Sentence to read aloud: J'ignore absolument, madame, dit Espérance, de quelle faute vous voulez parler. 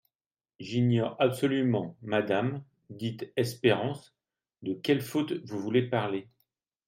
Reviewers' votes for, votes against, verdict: 2, 0, accepted